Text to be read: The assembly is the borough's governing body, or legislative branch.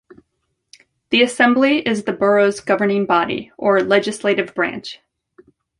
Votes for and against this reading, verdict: 2, 0, accepted